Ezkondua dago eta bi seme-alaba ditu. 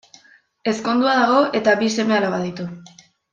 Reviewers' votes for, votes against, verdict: 2, 0, accepted